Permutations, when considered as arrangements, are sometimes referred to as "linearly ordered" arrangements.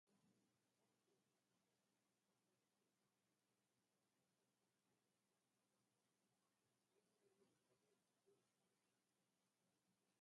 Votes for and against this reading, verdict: 2, 2, rejected